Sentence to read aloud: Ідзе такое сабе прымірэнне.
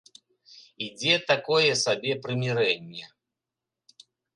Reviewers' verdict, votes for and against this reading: accepted, 2, 0